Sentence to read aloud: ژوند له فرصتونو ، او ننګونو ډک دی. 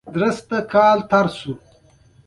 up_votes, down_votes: 1, 2